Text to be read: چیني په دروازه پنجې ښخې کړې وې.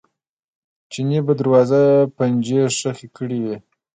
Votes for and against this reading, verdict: 2, 0, accepted